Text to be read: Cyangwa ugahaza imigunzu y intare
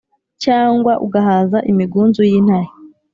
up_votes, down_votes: 4, 0